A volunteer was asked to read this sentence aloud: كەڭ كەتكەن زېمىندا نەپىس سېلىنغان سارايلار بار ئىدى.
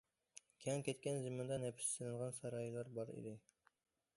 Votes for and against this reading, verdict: 2, 0, accepted